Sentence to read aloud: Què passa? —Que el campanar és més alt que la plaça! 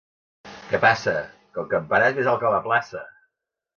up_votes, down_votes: 2, 0